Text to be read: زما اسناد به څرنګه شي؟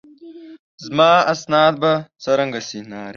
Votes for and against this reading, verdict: 1, 2, rejected